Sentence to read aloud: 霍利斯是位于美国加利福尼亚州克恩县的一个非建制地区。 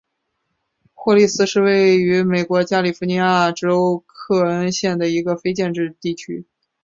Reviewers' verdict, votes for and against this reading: accepted, 3, 0